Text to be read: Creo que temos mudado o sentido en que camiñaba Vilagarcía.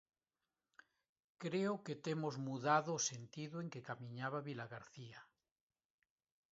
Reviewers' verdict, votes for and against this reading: accepted, 2, 0